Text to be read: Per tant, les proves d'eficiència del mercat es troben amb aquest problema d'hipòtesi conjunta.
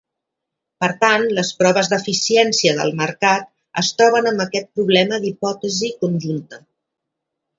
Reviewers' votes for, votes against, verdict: 2, 0, accepted